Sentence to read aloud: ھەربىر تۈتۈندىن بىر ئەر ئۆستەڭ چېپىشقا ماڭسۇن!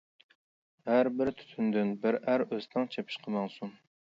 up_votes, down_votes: 2, 0